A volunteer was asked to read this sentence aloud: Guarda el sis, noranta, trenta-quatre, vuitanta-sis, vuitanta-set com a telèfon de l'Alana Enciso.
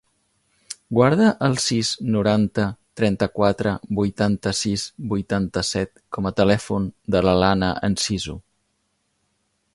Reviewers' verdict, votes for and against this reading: accepted, 2, 0